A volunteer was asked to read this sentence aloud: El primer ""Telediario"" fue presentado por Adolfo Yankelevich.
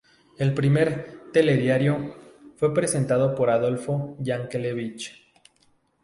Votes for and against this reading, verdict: 2, 0, accepted